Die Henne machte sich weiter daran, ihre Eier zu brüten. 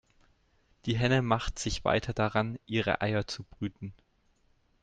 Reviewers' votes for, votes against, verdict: 2, 0, accepted